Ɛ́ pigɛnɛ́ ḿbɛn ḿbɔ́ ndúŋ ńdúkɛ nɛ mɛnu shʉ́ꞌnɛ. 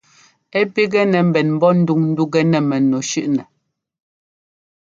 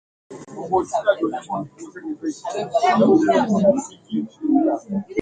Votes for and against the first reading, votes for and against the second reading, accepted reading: 2, 0, 0, 2, first